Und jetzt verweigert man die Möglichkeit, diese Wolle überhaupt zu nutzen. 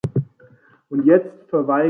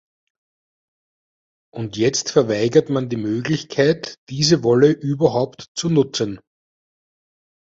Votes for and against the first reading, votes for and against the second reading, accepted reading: 0, 2, 2, 0, second